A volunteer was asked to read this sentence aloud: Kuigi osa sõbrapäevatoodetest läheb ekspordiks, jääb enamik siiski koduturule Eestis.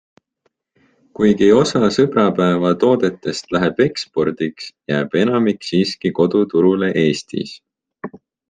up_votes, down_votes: 2, 0